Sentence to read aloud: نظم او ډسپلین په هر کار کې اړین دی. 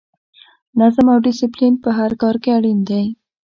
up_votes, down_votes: 1, 2